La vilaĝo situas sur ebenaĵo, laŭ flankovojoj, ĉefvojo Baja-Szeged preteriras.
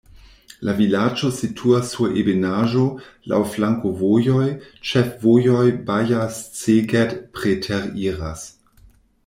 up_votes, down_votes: 0, 2